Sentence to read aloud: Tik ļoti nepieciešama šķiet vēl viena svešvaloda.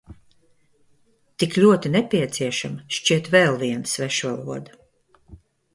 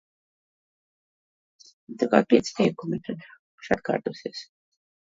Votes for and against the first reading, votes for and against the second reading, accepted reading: 2, 0, 0, 2, first